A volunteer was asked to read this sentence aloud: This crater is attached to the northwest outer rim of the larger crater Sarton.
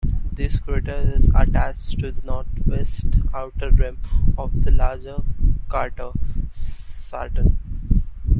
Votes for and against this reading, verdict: 1, 2, rejected